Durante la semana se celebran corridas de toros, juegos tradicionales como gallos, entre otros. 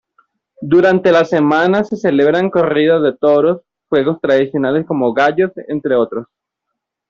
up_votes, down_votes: 1, 2